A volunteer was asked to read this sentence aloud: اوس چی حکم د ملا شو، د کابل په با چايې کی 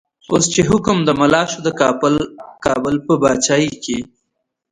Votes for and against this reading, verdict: 1, 2, rejected